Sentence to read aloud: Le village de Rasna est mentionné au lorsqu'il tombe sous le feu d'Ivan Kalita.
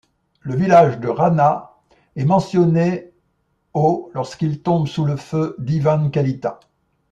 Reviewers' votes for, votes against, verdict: 0, 2, rejected